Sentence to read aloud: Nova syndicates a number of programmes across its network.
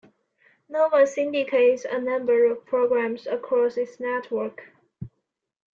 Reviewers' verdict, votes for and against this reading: accepted, 2, 1